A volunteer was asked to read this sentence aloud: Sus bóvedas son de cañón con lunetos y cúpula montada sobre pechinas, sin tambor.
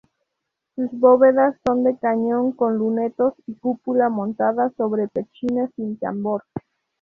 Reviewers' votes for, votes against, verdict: 0, 2, rejected